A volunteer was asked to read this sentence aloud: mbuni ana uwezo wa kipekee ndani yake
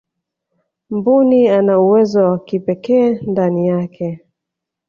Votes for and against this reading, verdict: 2, 0, accepted